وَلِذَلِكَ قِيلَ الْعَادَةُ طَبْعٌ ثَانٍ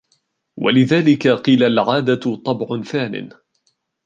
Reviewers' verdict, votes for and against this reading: accepted, 2, 0